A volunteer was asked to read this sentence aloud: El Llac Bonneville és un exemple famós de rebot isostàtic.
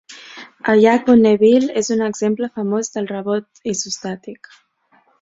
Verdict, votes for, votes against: rejected, 0, 2